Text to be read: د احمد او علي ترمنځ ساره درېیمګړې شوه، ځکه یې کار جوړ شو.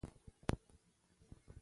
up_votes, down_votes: 0, 2